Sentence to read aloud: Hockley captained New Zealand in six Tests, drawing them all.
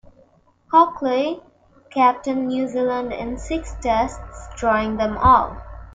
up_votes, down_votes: 1, 2